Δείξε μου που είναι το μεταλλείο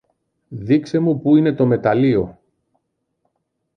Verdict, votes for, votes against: accepted, 2, 0